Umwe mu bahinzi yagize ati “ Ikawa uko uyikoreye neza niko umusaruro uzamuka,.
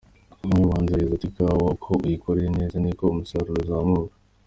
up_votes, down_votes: 2, 1